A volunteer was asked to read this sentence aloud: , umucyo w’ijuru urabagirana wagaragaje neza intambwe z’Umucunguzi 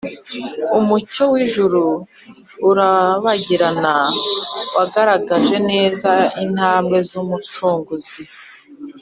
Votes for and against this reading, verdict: 4, 0, accepted